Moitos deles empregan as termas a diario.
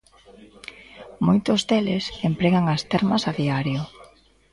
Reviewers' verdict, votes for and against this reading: accepted, 2, 0